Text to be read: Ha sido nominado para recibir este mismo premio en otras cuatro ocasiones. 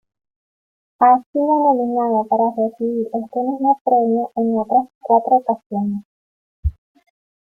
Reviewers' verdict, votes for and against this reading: accepted, 2, 1